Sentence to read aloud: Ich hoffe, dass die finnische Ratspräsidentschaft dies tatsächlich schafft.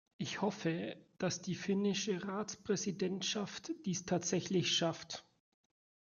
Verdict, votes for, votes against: accepted, 2, 0